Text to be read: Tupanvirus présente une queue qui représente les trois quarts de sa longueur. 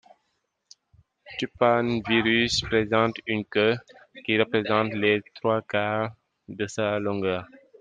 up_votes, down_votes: 2, 0